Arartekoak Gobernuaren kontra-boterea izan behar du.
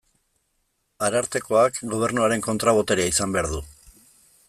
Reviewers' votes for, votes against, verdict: 2, 0, accepted